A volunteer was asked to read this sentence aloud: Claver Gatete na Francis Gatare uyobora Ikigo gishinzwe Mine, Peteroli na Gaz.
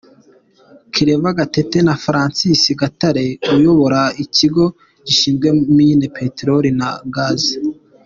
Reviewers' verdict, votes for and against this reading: accepted, 3, 1